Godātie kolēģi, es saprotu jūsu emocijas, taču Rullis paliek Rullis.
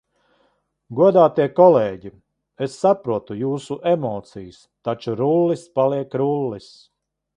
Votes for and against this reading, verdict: 2, 0, accepted